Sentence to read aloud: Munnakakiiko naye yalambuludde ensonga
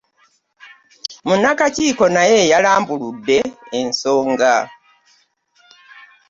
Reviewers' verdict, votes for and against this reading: accepted, 2, 0